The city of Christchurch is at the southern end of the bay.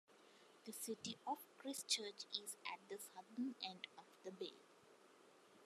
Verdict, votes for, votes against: accepted, 2, 1